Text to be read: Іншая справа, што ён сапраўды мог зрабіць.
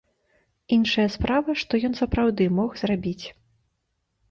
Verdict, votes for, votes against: accepted, 2, 0